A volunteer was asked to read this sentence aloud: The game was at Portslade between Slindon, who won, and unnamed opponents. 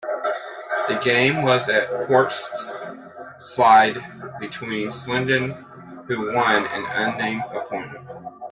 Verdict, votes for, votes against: rejected, 0, 3